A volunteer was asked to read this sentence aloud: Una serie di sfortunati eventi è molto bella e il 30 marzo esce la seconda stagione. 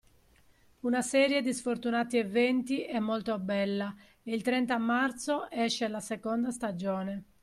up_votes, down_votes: 0, 2